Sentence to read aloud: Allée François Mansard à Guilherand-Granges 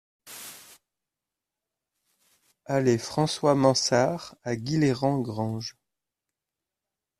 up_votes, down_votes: 2, 0